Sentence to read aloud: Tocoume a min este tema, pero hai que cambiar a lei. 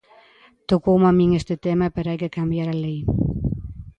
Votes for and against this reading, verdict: 2, 0, accepted